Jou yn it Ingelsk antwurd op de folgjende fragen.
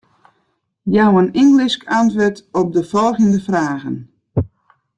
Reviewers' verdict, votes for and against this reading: rejected, 1, 2